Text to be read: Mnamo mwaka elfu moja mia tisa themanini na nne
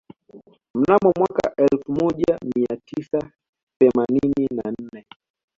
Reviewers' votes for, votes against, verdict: 3, 0, accepted